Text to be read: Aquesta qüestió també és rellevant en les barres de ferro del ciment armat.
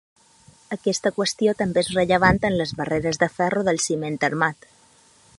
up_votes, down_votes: 3, 6